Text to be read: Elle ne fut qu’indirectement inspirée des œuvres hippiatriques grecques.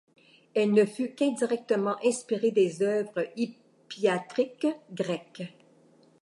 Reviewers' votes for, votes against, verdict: 2, 0, accepted